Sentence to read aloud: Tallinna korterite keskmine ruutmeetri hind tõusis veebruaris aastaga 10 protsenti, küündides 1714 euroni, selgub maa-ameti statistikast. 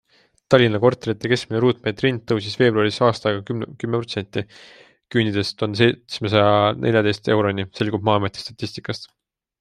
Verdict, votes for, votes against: rejected, 0, 2